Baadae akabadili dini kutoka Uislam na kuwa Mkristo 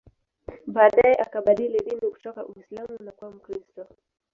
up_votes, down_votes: 1, 2